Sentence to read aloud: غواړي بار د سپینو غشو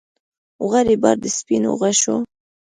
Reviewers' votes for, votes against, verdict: 2, 1, accepted